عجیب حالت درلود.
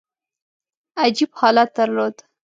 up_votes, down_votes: 2, 0